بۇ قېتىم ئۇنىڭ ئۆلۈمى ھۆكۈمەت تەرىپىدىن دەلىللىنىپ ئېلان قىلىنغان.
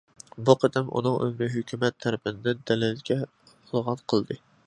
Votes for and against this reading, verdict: 0, 2, rejected